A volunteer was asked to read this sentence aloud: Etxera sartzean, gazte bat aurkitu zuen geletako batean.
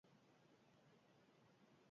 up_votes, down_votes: 2, 6